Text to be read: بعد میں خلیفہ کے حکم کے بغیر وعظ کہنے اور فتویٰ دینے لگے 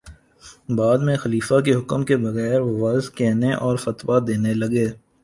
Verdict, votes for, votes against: accepted, 2, 0